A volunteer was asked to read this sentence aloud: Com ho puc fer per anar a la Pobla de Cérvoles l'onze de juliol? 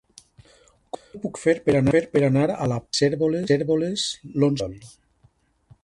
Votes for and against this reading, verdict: 1, 2, rejected